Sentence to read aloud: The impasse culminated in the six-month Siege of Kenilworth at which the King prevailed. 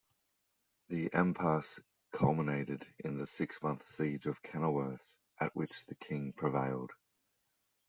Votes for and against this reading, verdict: 1, 2, rejected